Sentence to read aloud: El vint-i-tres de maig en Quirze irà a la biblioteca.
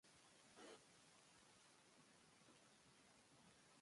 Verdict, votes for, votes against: rejected, 0, 2